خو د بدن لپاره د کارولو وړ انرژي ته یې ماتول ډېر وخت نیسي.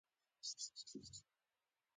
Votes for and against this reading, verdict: 0, 2, rejected